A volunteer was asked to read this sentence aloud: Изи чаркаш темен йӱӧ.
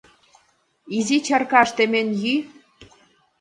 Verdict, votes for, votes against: rejected, 1, 2